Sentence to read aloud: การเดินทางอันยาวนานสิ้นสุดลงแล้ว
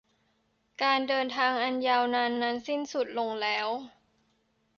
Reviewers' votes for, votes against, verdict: 0, 2, rejected